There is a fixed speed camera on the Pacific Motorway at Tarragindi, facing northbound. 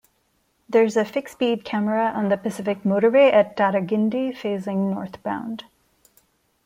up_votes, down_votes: 2, 0